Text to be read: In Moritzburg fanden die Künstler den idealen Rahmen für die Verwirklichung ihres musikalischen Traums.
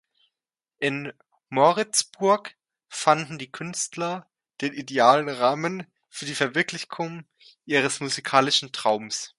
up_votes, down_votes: 0, 2